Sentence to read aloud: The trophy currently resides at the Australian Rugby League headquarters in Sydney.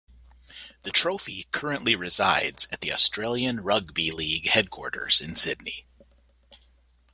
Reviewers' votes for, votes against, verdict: 2, 0, accepted